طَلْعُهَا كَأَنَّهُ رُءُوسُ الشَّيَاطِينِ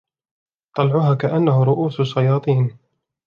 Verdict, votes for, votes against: accepted, 2, 0